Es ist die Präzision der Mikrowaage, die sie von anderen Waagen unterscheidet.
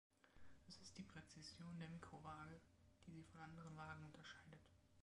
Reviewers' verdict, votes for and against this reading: rejected, 1, 2